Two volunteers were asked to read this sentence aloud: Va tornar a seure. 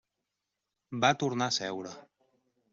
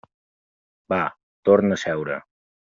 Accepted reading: first